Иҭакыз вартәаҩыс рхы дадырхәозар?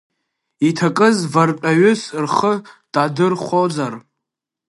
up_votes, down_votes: 0, 2